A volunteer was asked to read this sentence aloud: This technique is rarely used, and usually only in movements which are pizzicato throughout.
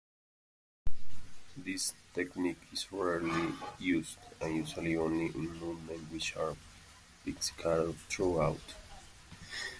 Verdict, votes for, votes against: rejected, 1, 2